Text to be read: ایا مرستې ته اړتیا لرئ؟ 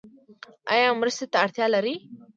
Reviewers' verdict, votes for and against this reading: accepted, 2, 0